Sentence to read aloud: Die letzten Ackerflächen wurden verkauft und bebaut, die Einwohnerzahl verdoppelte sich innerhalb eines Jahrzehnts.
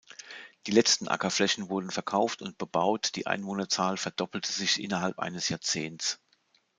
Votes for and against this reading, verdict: 2, 0, accepted